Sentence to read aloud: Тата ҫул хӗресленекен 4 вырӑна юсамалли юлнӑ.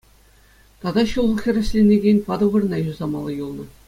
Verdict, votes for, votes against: rejected, 0, 2